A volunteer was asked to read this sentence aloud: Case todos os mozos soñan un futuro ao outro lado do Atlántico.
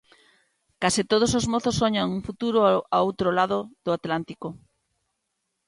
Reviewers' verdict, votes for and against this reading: rejected, 0, 2